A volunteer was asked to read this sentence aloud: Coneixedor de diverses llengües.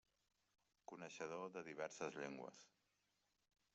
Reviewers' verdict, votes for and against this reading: rejected, 0, 2